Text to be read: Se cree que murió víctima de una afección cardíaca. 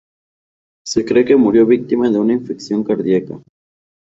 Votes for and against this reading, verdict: 2, 0, accepted